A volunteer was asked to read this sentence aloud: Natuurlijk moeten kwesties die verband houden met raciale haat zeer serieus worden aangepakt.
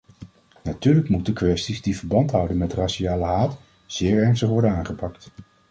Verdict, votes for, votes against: rejected, 0, 2